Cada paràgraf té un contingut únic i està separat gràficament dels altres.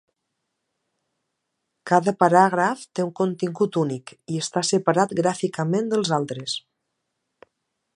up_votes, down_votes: 2, 0